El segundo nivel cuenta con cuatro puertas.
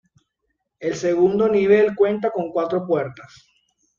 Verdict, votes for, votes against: accepted, 2, 0